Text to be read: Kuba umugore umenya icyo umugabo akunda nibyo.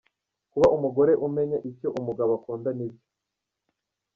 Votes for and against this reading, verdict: 1, 2, rejected